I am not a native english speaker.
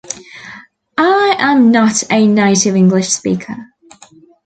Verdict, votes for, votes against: accepted, 2, 0